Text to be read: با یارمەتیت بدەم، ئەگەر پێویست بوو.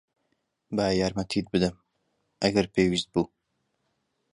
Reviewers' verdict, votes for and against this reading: accepted, 2, 0